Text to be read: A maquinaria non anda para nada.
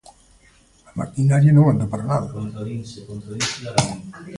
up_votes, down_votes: 1, 2